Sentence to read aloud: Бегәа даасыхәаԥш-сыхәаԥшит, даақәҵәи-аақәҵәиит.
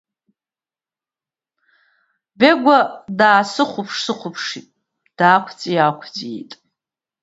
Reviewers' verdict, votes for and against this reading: accepted, 2, 0